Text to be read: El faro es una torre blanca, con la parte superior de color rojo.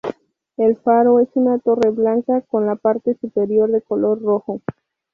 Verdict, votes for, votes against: accepted, 2, 0